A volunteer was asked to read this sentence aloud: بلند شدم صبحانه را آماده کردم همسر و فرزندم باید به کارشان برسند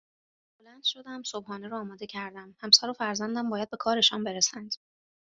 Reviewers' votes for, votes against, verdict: 2, 0, accepted